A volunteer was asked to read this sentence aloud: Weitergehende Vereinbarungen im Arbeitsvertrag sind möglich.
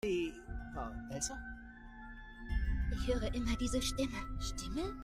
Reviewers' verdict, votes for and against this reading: rejected, 0, 2